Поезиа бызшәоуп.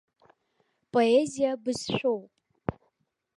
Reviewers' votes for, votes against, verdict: 2, 0, accepted